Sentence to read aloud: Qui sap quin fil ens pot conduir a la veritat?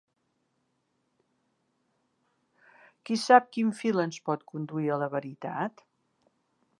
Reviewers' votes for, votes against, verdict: 3, 0, accepted